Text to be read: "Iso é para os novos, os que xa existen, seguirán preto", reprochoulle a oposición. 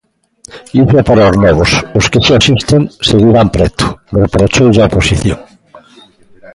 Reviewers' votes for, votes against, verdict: 1, 2, rejected